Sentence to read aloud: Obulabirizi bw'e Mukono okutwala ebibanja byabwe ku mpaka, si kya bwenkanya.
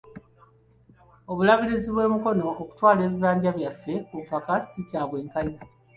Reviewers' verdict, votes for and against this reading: accepted, 2, 1